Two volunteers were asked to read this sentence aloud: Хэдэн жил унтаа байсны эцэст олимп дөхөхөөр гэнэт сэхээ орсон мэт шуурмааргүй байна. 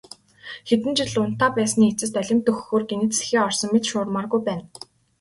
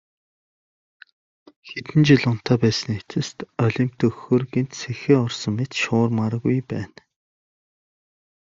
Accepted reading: second